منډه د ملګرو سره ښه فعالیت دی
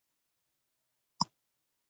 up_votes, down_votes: 0, 2